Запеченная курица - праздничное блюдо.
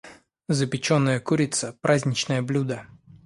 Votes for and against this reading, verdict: 2, 0, accepted